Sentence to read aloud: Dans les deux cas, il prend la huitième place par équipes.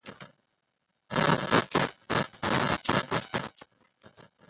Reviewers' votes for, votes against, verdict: 0, 2, rejected